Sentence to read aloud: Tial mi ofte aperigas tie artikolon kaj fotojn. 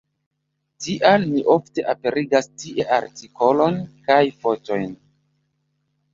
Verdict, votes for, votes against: rejected, 1, 2